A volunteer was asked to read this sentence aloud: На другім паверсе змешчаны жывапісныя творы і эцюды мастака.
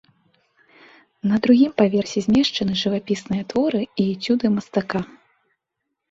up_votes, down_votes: 2, 0